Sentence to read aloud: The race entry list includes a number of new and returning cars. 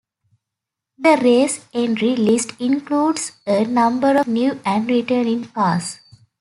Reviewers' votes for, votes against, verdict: 3, 0, accepted